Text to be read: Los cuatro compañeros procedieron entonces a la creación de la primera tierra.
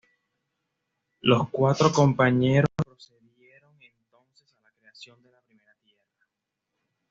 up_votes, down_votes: 2, 0